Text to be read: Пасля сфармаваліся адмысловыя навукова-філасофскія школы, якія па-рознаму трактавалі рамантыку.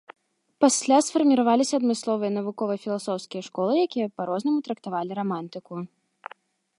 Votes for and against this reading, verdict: 3, 2, accepted